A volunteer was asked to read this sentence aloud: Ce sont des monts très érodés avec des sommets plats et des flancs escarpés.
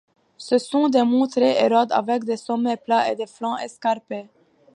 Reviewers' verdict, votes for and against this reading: rejected, 1, 2